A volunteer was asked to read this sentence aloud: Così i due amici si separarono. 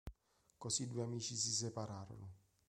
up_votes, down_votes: 3, 0